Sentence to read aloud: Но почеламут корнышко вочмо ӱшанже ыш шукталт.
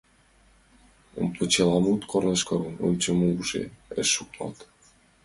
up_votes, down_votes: 0, 2